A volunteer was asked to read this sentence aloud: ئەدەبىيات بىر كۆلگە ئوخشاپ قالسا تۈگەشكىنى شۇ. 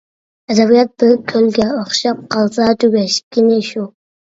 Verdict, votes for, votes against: accepted, 2, 0